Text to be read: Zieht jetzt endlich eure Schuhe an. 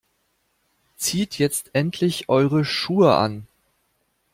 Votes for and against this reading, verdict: 2, 0, accepted